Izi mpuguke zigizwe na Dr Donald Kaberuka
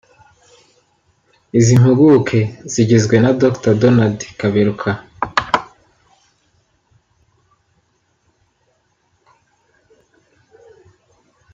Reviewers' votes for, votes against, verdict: 2, 1, accepted